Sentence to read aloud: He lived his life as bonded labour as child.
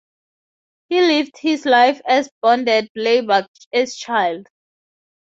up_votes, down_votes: 4, 0